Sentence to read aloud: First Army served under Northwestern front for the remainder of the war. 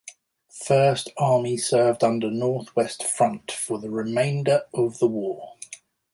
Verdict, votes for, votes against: rejected, 0, 2